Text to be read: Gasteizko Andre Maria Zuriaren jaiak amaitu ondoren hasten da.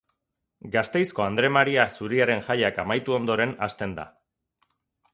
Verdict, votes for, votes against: accepted, 2, 0